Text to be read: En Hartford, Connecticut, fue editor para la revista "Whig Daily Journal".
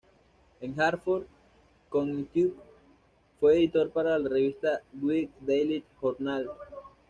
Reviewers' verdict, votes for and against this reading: rejected, 1, 2